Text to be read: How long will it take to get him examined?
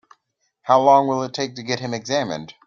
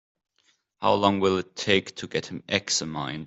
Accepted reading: first